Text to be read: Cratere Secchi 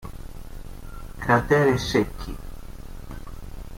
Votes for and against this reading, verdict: 2, 1, accepted